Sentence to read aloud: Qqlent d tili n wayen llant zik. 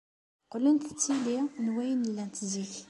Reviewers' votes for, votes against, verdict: 2, 0, accepted